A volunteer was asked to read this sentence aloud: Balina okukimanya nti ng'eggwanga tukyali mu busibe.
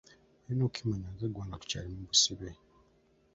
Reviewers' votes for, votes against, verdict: 0, 2, rejected